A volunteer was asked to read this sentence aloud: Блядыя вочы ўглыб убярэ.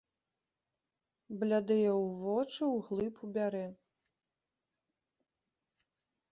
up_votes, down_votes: 0, 2